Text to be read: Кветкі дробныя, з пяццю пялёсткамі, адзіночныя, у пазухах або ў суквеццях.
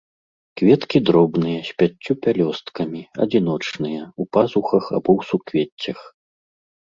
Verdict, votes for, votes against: accepted, 2, 0